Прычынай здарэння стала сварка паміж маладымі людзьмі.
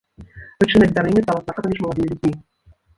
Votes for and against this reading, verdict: 0, 2, rejected